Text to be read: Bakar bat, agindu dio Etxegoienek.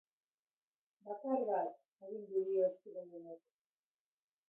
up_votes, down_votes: 1, 2